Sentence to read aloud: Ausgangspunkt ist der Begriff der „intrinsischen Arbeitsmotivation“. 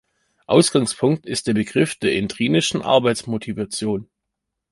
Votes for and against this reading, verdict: 0, 2, rejected